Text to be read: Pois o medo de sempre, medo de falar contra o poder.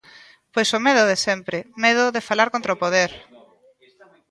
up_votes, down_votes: 1, 2